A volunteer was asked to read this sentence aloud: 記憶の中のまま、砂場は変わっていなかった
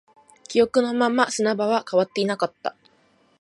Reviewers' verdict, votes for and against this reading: rejected, 1, 2